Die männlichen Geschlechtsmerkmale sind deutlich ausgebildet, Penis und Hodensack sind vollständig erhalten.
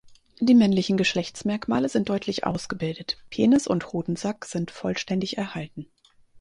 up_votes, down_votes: 4, 0